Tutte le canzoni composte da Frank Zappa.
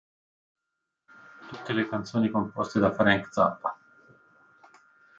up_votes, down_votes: 2, 0